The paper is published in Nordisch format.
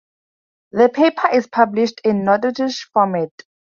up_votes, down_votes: 0, 2